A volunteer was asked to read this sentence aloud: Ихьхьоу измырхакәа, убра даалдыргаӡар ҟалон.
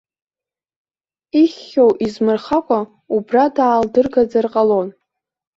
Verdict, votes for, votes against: rejected, 1, 2